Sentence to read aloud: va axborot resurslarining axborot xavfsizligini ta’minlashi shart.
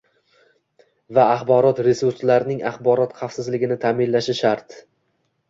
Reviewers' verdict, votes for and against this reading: accepted, 2, 0